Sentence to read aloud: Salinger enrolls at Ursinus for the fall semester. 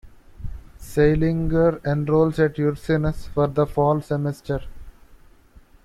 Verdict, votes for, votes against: rejected, 1, 2